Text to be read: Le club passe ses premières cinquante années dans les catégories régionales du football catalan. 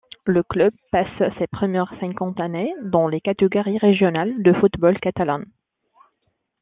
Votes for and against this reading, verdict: 2, 0, accepted